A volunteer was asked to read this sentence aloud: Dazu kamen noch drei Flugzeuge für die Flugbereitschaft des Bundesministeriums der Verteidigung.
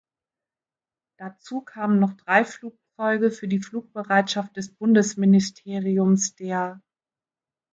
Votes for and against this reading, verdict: 0, 2, rejected